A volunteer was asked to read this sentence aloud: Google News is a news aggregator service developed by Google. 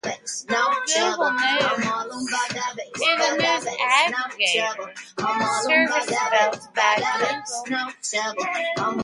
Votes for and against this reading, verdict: 0, 2, rejected